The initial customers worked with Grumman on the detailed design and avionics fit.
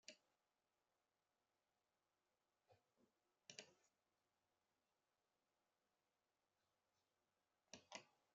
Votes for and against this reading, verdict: 0, 2, rejected